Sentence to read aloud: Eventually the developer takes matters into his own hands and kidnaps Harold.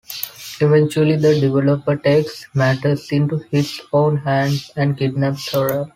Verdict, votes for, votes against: rejected, 1, 2